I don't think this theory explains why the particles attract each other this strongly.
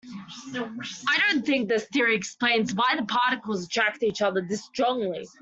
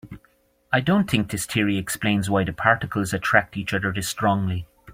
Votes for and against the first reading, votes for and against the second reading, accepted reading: 1, 2, 2, 0, second